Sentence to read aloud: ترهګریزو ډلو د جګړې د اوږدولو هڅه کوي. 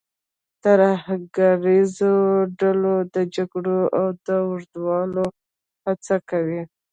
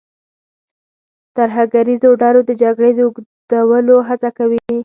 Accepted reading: second